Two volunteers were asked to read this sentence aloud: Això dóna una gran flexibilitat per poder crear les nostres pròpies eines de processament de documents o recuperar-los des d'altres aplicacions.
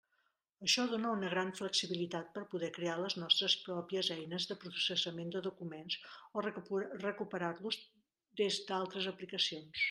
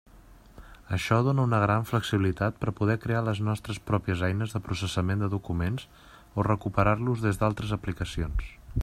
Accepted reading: second